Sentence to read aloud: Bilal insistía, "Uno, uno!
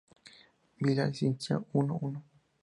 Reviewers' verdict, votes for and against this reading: accepted, 4, 0